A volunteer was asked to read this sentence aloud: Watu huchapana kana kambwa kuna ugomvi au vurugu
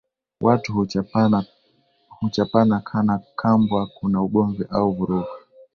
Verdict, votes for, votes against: rejected, 1, 2